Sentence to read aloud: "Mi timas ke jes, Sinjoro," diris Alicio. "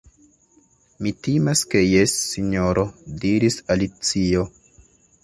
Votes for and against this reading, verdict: 2, 0, accepted